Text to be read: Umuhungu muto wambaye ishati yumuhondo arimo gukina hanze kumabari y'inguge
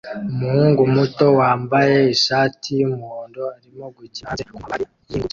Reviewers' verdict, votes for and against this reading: rejected, 0, 2